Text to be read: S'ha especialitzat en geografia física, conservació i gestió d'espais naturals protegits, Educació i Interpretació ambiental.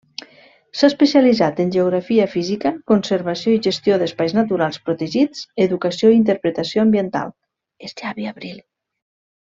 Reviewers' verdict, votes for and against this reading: rejected, 1, 2